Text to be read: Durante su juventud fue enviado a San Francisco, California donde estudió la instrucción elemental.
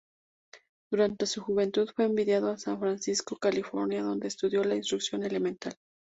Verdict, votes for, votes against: rejected, 0, 2